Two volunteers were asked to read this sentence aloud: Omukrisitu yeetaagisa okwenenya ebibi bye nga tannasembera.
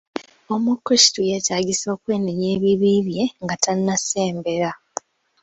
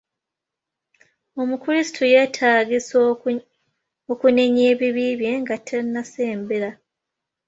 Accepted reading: first